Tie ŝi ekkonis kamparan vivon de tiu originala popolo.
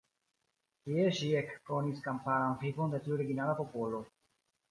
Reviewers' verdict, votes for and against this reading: rejected, 1, 2